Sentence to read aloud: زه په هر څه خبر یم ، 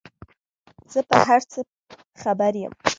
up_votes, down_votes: 0, 2